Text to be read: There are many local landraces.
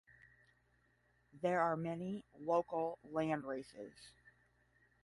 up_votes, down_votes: 10, 0